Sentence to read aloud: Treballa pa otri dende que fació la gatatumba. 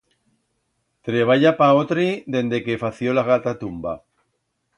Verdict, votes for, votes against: accepted, 2, 0